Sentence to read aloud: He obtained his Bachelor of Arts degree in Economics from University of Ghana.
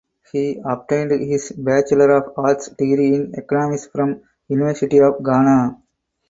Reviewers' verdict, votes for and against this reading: accepted, 6, 0